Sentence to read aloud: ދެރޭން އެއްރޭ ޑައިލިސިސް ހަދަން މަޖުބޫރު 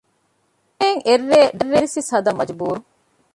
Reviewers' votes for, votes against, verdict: 0, 2, rejected